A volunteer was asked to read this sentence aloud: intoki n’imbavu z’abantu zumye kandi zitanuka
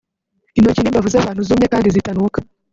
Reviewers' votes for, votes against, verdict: 1, 2, rejected